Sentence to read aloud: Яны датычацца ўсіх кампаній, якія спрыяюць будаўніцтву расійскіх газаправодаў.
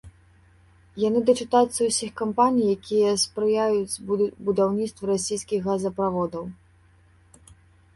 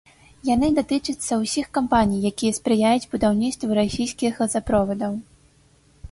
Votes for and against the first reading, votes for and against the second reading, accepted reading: 0, 2, 3, 0, second